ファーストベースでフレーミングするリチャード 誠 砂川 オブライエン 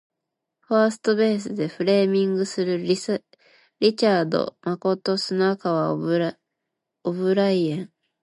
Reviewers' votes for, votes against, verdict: 1, 2, rejected